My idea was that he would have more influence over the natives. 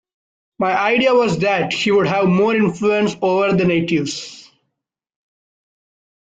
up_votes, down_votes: 2, 0